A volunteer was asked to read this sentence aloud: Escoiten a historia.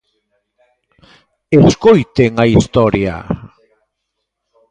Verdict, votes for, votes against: rejected, 0, 2